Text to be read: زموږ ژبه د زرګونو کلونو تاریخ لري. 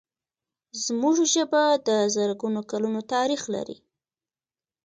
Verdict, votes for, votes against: rejected, 1, 2